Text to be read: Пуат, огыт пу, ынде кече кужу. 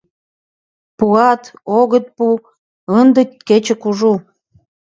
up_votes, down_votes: 2, 1